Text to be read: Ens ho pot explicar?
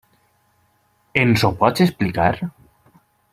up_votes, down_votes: 2, 1